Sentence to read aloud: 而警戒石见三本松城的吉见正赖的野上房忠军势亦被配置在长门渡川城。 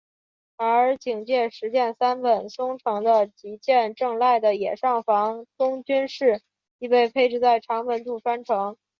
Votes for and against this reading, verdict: 2, 1, accepted